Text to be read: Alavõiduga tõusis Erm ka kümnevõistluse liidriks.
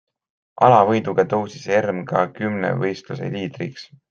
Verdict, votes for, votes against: accepted, 2, 0